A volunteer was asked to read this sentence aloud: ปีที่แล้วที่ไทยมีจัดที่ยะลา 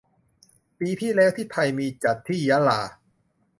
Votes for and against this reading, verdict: 2, 0, accepted